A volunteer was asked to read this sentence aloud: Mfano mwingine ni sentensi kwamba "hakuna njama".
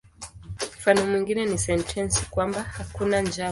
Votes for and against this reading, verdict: 2, 1, accepted